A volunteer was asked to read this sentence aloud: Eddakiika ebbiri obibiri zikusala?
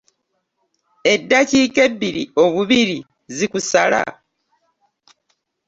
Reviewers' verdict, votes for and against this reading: rejected, 1, 2